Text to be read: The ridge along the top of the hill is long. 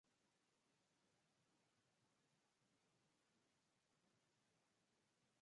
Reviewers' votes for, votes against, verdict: 0, 2, rejected